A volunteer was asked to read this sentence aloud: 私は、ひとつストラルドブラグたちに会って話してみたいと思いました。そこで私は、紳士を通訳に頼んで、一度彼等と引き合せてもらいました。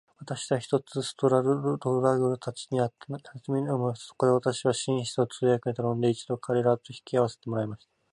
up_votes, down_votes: 4, 0